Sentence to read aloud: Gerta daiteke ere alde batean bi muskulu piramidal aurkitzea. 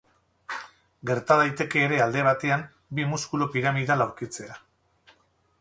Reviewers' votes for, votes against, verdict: 2, 2, rejected